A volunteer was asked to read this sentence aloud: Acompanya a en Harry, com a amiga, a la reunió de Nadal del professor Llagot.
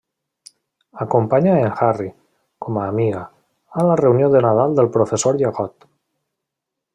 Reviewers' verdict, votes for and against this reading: accepted, 2, 0